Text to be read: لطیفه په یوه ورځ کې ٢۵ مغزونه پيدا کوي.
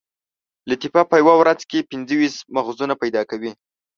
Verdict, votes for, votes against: rejected, 0, 2